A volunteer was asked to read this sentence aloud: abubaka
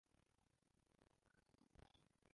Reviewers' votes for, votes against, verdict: 0, 2, rejected